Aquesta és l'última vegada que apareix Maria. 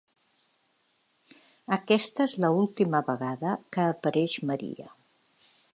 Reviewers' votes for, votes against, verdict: 1, 2, rejected